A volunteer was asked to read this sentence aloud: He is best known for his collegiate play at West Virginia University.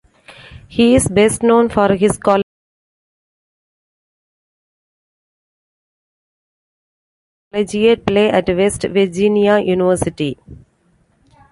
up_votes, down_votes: 0, 2